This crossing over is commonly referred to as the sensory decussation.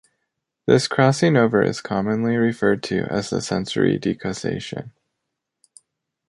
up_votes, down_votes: 2, 0